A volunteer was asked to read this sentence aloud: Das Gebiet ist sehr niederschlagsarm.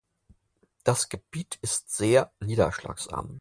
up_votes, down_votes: 4, 0